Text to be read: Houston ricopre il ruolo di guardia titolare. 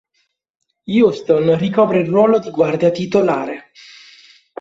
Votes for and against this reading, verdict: 2, 0, accepted